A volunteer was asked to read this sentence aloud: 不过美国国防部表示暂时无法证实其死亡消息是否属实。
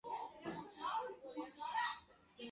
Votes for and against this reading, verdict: 0, 3, rejected